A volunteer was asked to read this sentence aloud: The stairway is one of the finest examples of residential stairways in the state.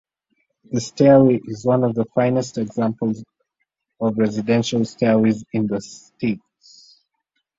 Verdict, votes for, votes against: accepted, 2, 1